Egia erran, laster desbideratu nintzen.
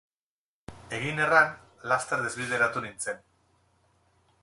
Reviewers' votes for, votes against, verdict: 2, 2, rejected